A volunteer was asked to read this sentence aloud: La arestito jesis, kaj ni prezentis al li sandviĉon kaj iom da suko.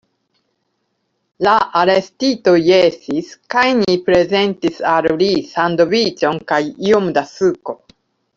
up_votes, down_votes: 2, 0